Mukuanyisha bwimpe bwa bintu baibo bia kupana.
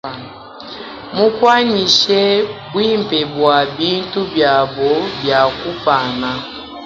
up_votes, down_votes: 2, 3